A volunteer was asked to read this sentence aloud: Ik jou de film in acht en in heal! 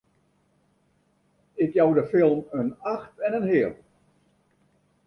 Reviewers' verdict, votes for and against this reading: rejected, 0, 2